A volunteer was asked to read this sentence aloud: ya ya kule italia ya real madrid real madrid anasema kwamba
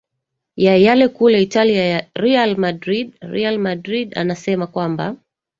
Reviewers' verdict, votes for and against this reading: rejected, 1, 2